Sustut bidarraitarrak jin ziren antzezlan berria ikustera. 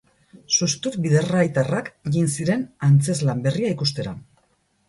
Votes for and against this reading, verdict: 4, 0, accepted